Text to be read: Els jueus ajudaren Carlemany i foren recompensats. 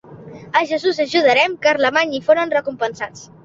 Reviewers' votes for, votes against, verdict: 1, 2, rejected